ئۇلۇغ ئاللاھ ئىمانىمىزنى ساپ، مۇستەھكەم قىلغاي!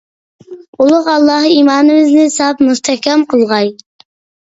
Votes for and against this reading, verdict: 2, 0, accepted